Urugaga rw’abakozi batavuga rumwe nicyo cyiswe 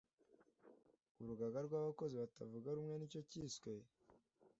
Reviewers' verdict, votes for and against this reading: accepted, 2, 0